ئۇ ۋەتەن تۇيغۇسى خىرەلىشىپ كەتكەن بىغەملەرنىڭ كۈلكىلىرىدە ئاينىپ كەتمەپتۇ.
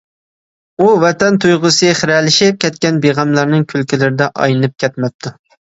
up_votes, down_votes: 1, 2